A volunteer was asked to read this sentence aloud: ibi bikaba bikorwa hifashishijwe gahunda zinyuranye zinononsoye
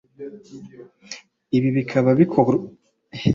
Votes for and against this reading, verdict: 1, 2, rejected